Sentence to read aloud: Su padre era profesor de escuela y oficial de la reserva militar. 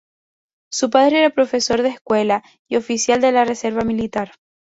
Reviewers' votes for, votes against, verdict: 2, 0, accepted